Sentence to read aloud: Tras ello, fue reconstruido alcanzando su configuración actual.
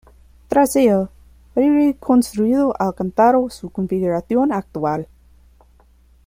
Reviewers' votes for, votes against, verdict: 1, 2, rejected